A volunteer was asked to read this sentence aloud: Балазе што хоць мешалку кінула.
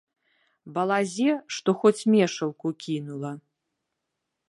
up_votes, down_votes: 2, 0